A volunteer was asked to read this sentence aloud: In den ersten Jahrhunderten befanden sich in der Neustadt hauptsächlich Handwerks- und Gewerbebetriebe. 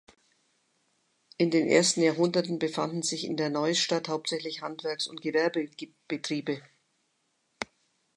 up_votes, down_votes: 1, 2